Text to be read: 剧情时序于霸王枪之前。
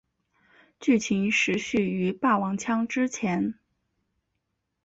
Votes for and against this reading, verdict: 2, 0, accepted